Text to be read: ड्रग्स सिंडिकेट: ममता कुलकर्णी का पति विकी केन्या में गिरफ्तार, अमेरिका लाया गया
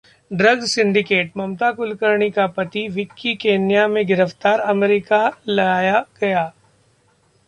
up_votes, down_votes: 0, 2